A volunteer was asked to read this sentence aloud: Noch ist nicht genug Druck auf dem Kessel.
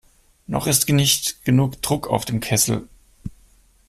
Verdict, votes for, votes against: rejected, 0, 2